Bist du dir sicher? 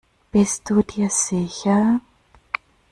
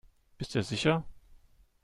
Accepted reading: first